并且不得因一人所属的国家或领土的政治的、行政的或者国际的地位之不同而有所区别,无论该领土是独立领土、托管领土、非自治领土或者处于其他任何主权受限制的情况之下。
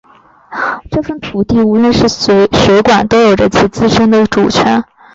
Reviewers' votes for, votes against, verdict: 0, 5, rejected